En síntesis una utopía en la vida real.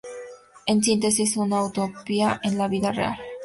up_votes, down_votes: 2, 0